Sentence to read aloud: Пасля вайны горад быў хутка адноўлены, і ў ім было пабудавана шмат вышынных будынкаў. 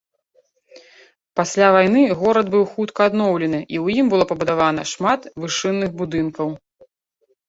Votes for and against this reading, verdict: 2, 0, accepted